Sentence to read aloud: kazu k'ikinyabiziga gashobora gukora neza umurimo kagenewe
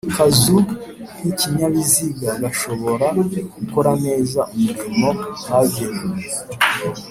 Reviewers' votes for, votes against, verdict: 3, 0, accepted